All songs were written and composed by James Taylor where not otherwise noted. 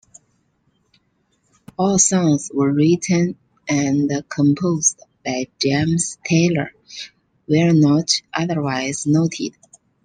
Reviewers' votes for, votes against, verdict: 2, 0, accepted